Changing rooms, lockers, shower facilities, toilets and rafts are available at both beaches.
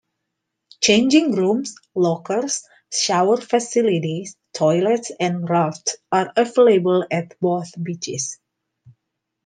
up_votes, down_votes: 2, 0